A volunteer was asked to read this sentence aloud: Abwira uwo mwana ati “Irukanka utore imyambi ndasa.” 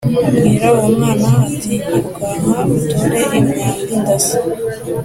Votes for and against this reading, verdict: 2, 0, accepted